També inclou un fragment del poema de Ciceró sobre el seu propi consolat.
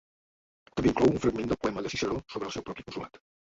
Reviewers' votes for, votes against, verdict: 0, 2, rejected